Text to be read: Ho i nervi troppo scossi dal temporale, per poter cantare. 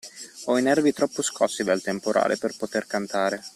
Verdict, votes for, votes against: accepted, 2, 0